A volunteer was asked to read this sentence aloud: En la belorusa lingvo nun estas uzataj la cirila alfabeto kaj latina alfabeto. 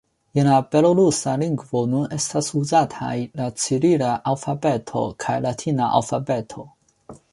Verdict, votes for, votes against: accepted, 2, 0